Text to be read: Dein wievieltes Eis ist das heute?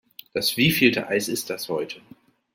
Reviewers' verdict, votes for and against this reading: rejected, 0, 2